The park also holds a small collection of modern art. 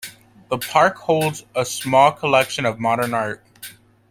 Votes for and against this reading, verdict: 0, 2, rejected